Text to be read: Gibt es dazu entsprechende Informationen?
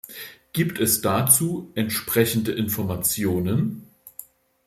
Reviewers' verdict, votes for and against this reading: accepted, 2, 0